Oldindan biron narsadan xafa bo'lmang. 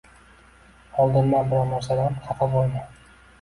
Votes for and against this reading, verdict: 1, 2, rejected